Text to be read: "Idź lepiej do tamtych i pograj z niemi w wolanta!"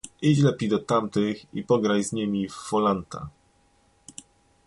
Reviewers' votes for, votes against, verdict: 0, 2, rejected